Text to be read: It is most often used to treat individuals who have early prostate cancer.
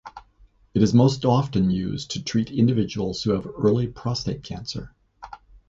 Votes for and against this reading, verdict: 2, 0, accepted